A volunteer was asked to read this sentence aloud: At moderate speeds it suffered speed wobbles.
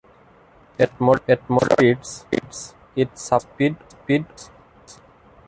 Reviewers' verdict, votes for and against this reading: rejected, 0, 2